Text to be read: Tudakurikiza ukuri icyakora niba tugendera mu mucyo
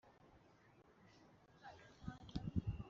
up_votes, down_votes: 0, 3